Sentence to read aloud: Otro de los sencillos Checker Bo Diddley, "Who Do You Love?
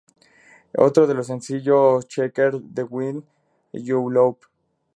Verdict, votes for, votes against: rejected, 0, 2